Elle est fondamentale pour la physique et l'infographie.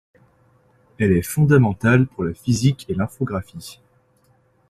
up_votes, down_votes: 2, 0